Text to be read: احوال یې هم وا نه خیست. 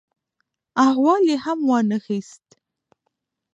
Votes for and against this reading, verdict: 1, 2, rejected